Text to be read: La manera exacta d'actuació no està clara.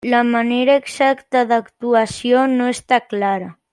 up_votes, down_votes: 3, 0